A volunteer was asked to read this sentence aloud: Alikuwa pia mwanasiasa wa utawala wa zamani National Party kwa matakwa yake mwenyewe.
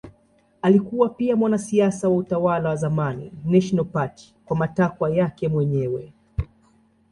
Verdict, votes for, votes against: accepted, 2, 0